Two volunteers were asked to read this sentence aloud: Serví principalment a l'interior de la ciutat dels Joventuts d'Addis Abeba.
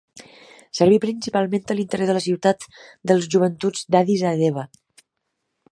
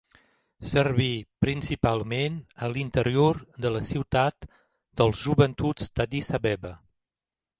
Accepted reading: second